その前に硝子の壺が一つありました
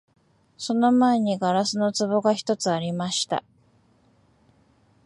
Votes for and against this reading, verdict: 2, 0, accepted